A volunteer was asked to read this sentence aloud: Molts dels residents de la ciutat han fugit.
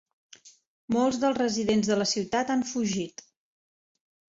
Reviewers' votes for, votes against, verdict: 3, 0, accepted